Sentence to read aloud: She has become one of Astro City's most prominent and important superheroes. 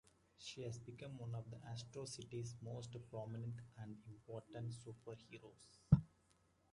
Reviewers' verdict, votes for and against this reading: rejected, 1, 2